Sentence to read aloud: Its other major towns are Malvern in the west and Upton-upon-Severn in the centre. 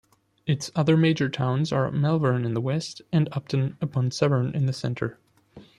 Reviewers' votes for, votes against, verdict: 2, 0, accepted